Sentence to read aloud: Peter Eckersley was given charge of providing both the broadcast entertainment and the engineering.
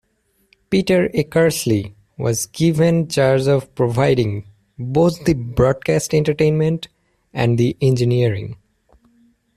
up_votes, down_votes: 2, 0